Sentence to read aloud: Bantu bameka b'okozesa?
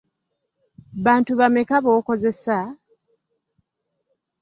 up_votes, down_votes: 2, 0